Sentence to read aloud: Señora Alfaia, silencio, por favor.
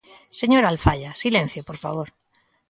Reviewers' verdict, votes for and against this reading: accepted, 2, 0